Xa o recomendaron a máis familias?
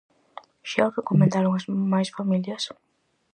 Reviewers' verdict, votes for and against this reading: rejected, 0, 4